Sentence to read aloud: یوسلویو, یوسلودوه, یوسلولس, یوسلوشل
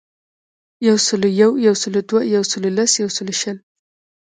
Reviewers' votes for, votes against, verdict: 1, 2, rejected